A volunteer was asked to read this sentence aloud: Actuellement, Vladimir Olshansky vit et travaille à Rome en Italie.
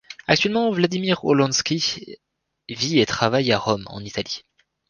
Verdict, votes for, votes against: rejected, 1, 2